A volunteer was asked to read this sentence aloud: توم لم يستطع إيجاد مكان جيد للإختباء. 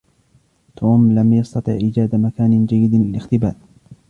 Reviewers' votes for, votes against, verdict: 0, 2, rejected